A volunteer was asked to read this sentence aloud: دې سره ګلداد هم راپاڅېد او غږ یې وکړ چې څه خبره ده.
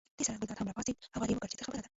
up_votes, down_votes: 1, 2